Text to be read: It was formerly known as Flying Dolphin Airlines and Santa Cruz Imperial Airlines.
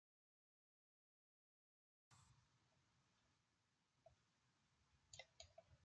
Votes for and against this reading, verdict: 0, 2, rejected